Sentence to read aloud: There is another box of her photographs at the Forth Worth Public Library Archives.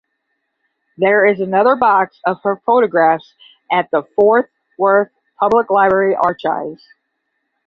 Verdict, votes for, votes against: rejected, 0, 10